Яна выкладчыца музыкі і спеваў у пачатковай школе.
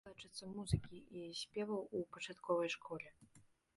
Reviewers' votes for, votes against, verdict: 1, 2, rejected